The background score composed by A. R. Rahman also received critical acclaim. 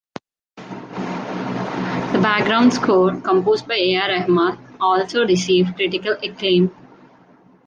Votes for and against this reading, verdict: 2, 1, accepted